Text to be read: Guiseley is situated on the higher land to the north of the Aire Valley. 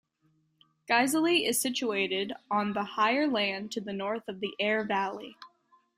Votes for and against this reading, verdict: 2, 0, accepted